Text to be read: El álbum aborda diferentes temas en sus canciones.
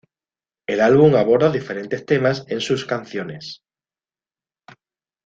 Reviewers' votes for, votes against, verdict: 2, 0, accepted